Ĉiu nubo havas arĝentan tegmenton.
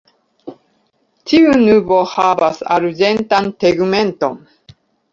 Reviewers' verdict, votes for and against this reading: rejected, 0, 2